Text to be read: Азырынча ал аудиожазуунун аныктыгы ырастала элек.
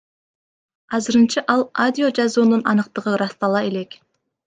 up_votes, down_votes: 1, 2